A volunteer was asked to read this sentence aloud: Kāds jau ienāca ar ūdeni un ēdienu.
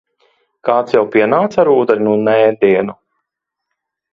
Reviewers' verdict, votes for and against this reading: rejected, 0, 2